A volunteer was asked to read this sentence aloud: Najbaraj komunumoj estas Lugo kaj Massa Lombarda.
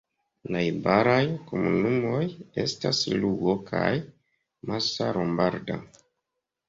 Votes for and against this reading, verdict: 2, 0, accepted